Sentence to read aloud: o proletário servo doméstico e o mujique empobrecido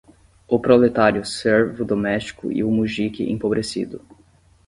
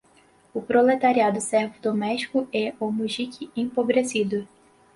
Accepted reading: second